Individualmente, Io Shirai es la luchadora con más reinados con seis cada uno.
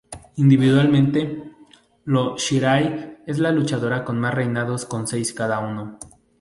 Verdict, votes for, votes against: rejected, 0, 2